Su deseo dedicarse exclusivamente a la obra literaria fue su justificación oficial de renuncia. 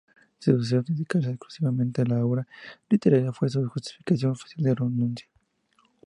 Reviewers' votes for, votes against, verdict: 0, 2, rejected